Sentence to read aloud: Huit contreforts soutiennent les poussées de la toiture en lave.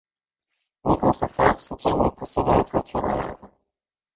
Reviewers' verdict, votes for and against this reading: rejected, 1, 2